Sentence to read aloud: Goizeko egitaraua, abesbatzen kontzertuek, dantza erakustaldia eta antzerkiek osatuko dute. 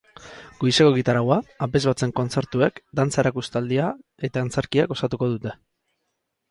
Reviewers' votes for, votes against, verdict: 4, 0, accepted